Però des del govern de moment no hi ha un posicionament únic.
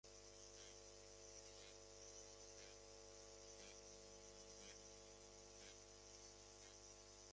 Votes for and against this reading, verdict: 0, 2, rejected